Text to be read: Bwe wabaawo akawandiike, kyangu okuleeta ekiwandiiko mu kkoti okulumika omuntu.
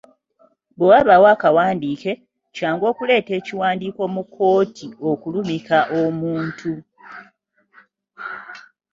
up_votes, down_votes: 2, 1